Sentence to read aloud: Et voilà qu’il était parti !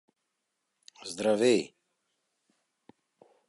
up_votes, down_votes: 0, 2